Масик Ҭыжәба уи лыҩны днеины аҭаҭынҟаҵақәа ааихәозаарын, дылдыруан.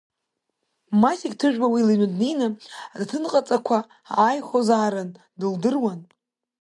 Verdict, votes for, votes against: accepted, 2, 1